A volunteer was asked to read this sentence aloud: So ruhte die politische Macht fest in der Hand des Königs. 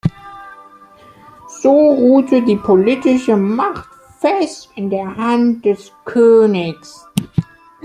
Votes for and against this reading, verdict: 3, 2, accepted